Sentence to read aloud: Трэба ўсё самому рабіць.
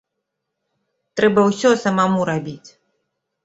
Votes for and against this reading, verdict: 0, 2, rejected